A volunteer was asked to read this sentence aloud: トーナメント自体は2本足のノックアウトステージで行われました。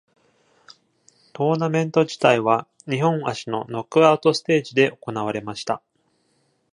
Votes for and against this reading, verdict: 0, 2, rejected